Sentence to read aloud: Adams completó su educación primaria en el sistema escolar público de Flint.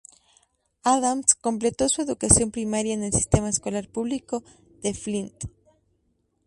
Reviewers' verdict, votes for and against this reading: accepted, 2, 0